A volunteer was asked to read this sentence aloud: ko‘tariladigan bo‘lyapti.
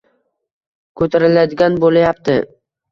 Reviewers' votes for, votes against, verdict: 1, 2, rejected